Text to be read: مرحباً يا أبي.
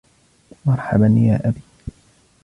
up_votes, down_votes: 2, 0